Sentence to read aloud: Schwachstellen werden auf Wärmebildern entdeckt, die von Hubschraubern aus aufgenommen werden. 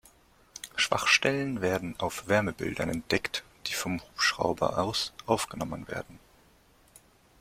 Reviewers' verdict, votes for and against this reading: rejected, 1, 2